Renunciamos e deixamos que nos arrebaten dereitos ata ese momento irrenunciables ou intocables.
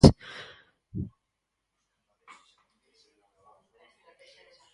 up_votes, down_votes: 0, 4